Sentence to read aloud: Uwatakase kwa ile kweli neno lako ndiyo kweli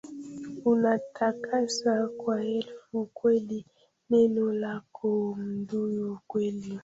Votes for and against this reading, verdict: 0, 2, rejected